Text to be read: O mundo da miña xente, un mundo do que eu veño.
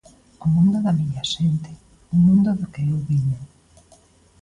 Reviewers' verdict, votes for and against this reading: accepted, 2, 1